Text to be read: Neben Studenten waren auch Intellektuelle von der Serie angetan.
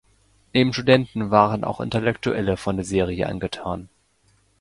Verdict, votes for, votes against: accepted, 2, 0